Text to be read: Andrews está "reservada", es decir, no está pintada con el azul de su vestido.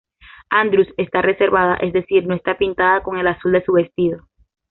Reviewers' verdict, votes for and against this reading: accepted, 2, 0